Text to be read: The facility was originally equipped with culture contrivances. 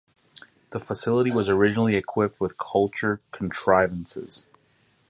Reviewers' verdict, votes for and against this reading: accepted, 4, 0